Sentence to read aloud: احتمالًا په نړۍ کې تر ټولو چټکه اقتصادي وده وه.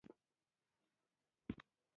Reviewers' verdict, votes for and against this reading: rejected, 0, 2